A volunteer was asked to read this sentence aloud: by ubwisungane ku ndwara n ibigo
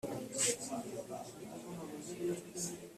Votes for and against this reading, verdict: 1, 2, rejected